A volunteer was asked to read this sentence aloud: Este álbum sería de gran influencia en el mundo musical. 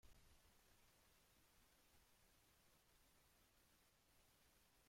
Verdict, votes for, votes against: rejected, 0, 2